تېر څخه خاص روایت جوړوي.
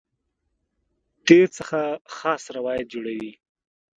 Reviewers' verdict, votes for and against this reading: accepted, 2, 0